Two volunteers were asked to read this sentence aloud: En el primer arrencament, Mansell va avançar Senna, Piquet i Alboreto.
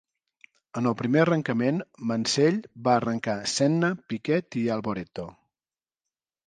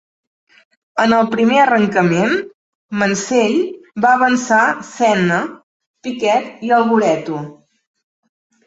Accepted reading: second